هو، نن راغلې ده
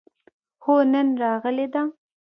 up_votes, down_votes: 1, 2